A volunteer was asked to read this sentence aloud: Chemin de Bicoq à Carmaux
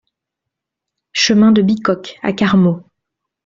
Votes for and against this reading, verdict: 2, 0, accepted